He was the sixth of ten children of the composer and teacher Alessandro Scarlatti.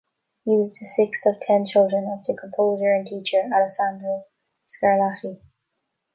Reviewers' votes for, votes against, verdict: 1, 2, rejected